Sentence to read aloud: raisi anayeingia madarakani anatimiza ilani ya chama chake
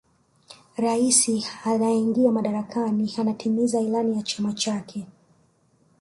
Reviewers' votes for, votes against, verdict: 1, 2, rejected